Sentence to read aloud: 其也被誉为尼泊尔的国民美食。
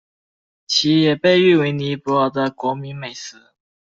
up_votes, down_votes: 2, 0